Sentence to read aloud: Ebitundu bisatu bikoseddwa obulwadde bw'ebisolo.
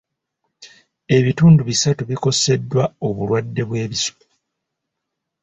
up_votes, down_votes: 0, 2